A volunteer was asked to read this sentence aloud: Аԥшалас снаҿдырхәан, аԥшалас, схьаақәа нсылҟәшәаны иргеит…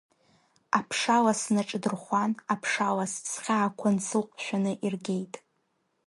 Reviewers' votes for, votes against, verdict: 2, 0, accepted